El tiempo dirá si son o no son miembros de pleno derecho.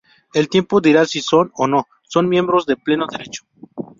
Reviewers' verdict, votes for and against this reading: rejected, 2, 2